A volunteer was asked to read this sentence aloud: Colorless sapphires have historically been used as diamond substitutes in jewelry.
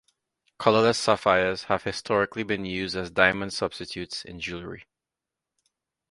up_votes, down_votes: 2, 0